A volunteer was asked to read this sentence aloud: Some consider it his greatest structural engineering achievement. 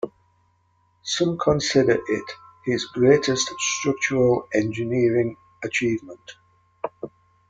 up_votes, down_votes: 1, 2